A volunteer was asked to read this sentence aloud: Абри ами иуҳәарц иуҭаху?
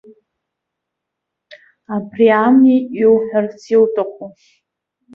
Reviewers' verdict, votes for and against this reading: accepted, 2, 0